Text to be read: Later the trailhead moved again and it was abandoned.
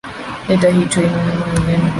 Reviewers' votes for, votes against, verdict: 1, 2, rejected